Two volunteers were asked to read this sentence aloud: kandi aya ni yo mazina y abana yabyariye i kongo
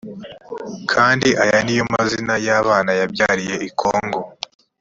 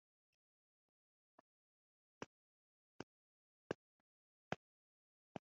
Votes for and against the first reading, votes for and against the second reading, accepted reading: 3, 0, 1, 2, first